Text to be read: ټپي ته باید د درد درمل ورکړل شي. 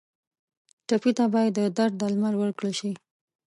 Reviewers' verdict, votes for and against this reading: accepted, 5, 0